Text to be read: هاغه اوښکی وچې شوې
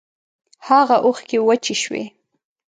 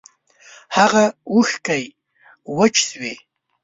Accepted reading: first